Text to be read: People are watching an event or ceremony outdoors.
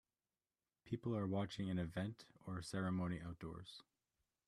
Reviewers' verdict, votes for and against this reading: accepted, 2, 0